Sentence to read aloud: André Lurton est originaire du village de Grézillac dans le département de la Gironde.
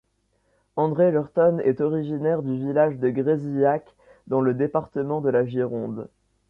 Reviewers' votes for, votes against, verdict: 1, 2, rejected